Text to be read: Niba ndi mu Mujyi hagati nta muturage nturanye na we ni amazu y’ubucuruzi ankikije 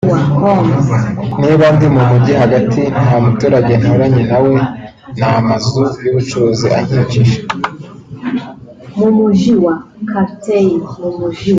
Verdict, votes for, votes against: accepted, 2, 0